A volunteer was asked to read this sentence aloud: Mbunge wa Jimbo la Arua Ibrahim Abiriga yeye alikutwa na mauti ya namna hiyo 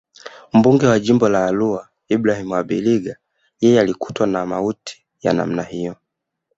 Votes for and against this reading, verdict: 0, 2, rejected